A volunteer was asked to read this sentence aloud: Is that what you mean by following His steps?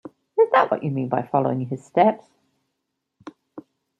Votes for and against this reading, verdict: 1, 2, rejected